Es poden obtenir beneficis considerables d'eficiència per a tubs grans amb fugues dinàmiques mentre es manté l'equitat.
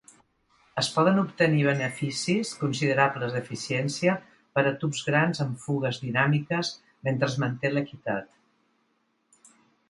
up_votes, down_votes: 2, 0